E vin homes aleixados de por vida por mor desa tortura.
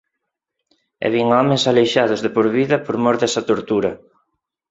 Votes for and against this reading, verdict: 4, 0, accepted